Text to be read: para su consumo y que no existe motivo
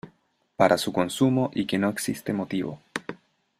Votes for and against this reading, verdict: 2, 0, accepted